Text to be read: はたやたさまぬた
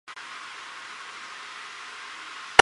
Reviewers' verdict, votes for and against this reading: rejected, 1, 2